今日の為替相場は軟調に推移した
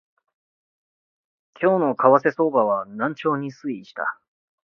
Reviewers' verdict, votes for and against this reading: rejected, 0, 2